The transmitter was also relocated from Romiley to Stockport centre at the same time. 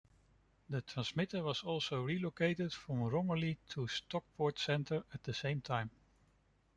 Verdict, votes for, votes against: rejected, 1, 2